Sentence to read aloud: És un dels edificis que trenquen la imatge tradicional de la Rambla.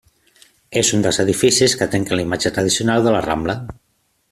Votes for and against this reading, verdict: 2, 0, accepted